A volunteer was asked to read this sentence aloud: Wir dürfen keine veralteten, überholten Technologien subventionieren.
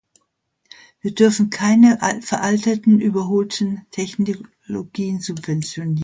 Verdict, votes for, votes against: rejected, 0, 2